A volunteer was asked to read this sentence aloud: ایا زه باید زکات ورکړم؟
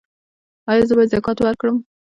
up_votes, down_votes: 1, 2